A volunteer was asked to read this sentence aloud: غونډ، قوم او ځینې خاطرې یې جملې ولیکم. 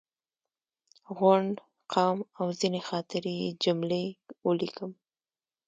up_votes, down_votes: 2, 0